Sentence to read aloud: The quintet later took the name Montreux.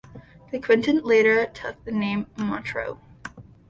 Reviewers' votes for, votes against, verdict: 1, 2, rejected